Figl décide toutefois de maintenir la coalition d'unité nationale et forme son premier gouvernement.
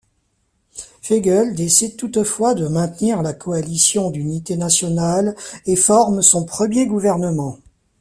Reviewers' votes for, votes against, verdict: 1, 2, rejected